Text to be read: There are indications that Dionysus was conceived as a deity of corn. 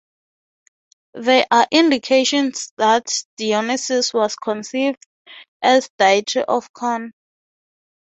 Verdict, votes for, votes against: accepted, 3, 0